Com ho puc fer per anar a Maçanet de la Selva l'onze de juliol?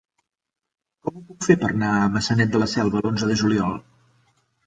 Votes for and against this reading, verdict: 1, 2, rejected